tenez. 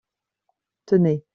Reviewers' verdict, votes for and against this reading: accepted, 2, 0